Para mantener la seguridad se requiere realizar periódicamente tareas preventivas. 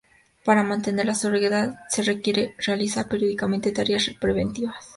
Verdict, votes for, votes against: accepted, 2, 0